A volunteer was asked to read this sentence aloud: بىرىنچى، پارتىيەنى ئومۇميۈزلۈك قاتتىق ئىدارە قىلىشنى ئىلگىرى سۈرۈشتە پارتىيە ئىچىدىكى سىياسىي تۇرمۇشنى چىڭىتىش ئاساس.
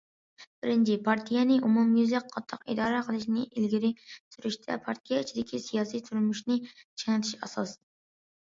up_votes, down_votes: 2, 0